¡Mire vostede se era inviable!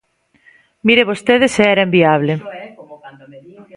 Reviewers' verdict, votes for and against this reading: accepted, 2, 0